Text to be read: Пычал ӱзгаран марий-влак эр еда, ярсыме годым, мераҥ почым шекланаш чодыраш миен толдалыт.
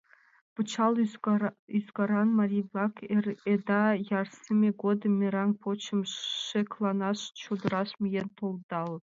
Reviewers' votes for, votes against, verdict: 0, 2, rejected